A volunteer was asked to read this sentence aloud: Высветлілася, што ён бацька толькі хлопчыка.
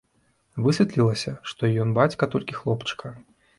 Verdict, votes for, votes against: accepted, 2, 0